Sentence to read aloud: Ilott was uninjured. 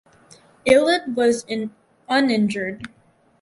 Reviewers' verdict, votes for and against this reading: rejected, 2, 6